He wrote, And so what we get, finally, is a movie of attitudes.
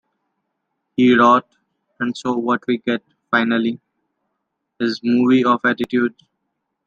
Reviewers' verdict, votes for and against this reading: rejected, 1, 2